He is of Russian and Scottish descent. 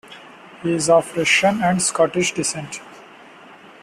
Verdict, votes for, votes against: accepted, 2, 0